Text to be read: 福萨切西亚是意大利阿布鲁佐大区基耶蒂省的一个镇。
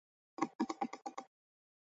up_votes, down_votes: 0, 2